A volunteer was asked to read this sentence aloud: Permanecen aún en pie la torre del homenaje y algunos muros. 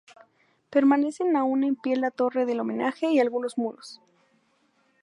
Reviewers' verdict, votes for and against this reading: accepted, 2, 0